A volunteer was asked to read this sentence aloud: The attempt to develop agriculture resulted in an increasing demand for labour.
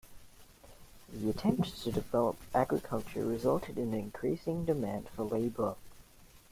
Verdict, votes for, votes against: accepted, 2, 1